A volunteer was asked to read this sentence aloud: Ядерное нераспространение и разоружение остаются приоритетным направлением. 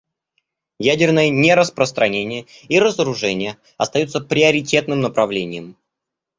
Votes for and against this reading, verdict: 2, 0, accepted